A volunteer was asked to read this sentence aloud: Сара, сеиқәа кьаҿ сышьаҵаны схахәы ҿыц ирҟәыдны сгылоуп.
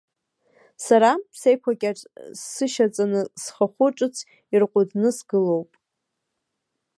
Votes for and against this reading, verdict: 0, 3, rejected